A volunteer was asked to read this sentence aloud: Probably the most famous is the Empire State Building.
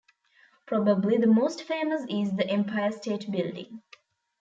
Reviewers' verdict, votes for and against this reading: accepted, 2, 0